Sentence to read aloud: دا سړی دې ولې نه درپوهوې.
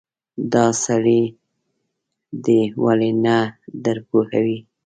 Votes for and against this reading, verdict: 0, 2, rejected